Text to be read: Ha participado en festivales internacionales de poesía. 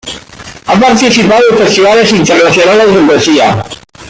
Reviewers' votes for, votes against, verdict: 2, 1, accepted